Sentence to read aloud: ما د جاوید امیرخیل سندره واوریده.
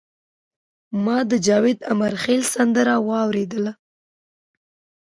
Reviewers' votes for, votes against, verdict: 1, 2, rejected